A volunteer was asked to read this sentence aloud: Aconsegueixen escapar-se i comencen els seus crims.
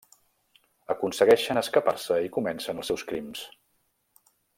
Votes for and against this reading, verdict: 3, 0, accepted